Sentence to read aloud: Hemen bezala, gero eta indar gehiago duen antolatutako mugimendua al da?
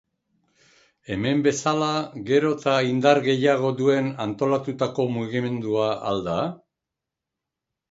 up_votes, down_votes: 2, 0